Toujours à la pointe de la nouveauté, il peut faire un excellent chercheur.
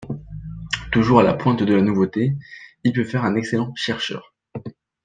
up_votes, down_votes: 2, 0